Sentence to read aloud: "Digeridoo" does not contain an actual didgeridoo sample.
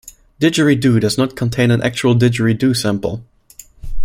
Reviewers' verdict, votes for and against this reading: accepted, 2, 0